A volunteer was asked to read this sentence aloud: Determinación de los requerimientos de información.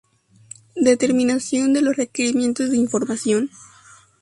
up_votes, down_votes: 4, 0